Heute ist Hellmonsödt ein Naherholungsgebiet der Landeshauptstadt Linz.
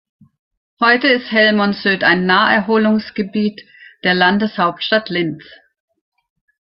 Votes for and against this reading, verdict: 2, 0, accepted